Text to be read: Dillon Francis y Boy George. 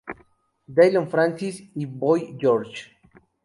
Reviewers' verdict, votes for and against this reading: rejected, 0, 2